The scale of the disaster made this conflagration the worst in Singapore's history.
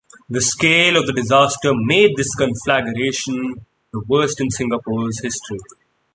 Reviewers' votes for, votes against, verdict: 2, 0, accepted